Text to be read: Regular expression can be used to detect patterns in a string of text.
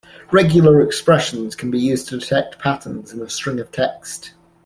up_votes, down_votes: 2, 0